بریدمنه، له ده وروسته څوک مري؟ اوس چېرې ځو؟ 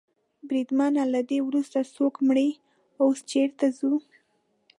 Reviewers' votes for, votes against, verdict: 1, 2, rejected